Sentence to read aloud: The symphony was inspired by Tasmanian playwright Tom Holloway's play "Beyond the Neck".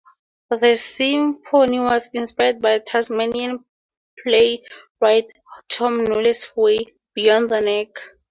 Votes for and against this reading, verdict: 2, 4, rejected